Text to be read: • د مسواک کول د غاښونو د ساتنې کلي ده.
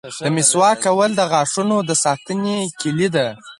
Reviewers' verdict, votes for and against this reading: rejected, 2, 4